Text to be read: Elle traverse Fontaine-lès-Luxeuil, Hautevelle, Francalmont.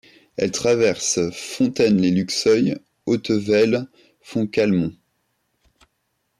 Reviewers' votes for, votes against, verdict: 1, 2, rejected